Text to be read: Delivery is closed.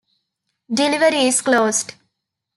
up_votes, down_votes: 2, 0